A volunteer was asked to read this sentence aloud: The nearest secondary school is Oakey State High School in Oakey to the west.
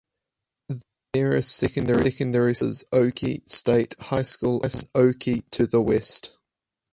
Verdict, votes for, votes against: rejected, 0, 4